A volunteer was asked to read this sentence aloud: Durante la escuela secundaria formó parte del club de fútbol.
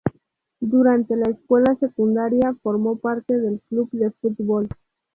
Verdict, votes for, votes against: accepted, 2, 0